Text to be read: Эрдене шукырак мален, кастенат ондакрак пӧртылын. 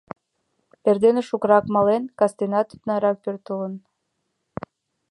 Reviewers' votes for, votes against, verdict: 2, 1, accepted